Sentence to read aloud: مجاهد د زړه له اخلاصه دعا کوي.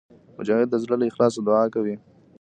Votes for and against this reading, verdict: 0, 2, rejected